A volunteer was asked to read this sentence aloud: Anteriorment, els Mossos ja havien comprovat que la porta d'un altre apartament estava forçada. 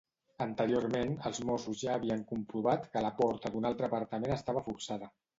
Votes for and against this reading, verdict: 2, 0, accepted